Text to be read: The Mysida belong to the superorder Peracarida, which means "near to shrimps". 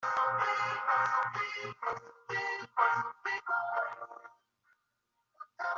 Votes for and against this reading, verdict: 0, 2, rejected